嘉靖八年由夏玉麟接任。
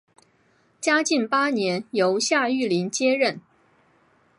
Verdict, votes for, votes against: accepted, 4, 0